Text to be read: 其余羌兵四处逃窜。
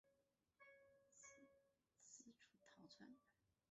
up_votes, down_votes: 0, 2